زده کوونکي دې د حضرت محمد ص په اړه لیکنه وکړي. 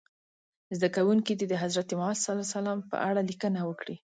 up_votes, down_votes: 2, 0